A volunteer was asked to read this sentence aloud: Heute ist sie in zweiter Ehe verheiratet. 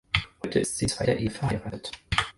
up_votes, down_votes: 4, 0